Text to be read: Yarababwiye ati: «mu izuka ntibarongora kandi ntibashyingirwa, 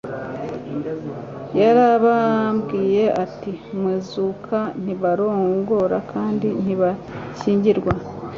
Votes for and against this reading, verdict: 1, 2, rejected